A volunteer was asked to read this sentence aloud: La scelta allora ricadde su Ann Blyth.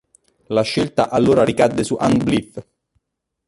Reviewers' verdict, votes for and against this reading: rejected, 1, 2